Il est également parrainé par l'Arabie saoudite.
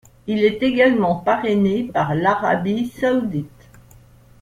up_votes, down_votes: 2, 0